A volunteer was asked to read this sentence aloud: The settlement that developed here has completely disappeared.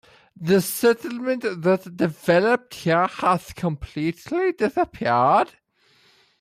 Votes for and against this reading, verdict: 0, 2, rejected